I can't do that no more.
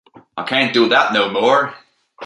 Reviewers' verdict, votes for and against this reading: accepted, 2, 0